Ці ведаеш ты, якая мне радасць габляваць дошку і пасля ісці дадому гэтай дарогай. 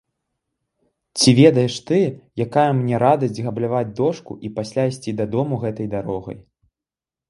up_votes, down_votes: 2, 1